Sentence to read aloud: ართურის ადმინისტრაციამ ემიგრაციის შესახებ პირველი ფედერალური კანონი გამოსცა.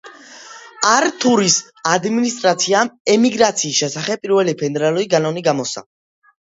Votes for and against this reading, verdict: 1, 2, rejected